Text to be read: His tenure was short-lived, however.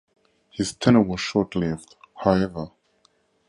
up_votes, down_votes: 2, 2